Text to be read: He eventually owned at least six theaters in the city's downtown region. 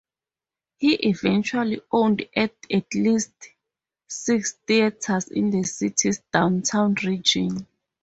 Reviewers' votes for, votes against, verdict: 0, 4, rejected